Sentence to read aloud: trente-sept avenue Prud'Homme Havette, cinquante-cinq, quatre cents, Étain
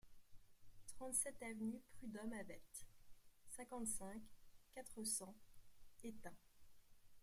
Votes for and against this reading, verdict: 2, 1, accepted